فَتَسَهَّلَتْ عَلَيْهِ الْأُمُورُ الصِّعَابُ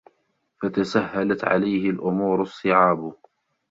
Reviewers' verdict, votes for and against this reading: accepted, 2, 0